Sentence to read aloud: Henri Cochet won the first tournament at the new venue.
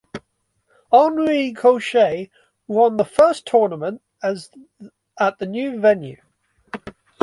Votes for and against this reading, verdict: 1, 2, rejected